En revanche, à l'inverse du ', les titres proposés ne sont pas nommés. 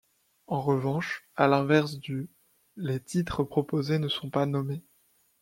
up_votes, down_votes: 2, 0